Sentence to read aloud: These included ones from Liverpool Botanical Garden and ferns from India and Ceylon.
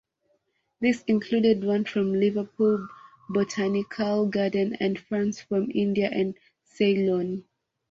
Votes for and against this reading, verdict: 2, 0, accepted